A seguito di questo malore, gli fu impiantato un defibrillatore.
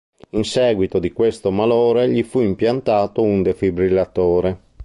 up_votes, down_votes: 0, 2